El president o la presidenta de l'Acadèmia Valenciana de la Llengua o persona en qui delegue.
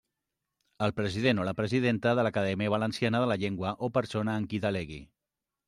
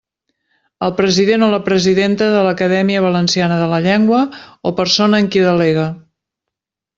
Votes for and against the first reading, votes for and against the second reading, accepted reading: 1, 2, 2, 0, second